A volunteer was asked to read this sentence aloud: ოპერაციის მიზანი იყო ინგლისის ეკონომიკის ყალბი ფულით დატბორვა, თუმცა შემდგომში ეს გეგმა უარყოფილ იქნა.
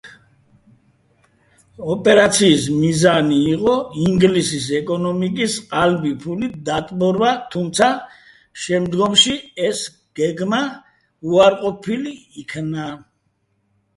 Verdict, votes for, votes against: rejected, 1, 2